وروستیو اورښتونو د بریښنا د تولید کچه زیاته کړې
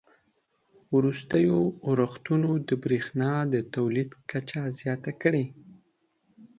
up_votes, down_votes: 2, 0